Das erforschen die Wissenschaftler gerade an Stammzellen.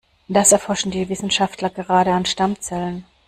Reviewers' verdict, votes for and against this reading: accepted, 2, 0